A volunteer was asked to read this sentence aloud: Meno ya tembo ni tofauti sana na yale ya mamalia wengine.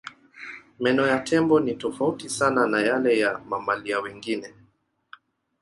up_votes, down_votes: 0, 2